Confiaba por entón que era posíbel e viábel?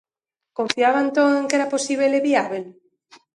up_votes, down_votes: 0, 2